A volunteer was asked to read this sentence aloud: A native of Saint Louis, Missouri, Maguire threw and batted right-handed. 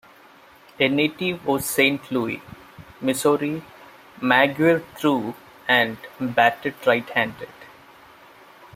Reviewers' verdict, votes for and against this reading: accepted, 2, 1